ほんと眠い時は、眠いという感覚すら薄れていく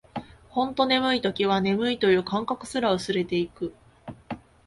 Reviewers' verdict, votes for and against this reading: accepted, 2, 0